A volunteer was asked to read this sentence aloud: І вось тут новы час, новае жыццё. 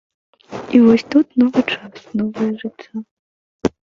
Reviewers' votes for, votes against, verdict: 0, 2, rejected